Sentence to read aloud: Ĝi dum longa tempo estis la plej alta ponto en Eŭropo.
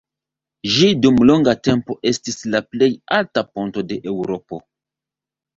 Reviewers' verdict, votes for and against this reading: rejected, 1, 2